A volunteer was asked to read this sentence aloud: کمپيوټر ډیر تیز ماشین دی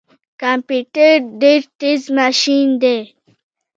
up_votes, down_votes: 0, 2